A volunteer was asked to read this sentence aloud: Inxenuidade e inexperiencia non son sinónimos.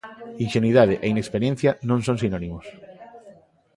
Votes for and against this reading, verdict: 0, 2, rejected